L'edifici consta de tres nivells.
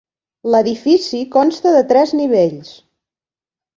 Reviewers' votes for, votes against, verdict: 3, 0, accepted